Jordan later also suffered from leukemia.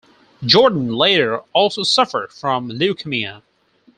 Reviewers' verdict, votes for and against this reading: rejected, 2, 4